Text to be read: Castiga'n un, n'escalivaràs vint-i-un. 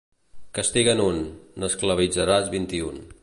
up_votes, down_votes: 2, 3